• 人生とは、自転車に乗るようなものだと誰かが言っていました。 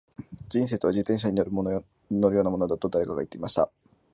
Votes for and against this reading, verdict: 1, 2, rejected